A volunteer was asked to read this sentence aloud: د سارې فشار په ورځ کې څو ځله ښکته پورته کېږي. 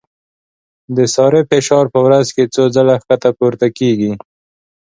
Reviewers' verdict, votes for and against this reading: accepted, 2, 0